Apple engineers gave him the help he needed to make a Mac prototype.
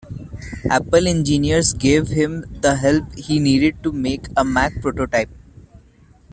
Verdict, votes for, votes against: accepted, 2, 0